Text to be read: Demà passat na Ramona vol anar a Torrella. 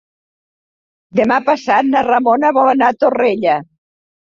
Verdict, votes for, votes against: accepted, 3, 0